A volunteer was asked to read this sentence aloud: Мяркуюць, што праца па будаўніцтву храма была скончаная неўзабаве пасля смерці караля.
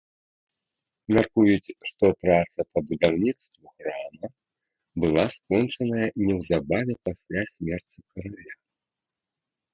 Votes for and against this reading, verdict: 1, 2, rejected